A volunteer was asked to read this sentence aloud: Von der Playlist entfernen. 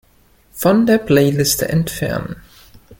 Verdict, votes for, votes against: rejected, 1, 2